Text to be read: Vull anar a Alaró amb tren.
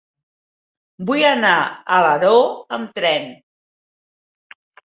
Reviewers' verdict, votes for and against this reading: accepted, 3, 0